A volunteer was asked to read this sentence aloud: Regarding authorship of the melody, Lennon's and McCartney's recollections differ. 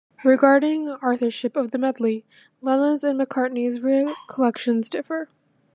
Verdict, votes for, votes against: rejected, 1, 2